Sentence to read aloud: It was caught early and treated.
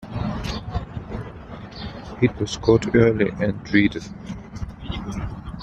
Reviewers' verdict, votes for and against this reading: accepted, 2, 0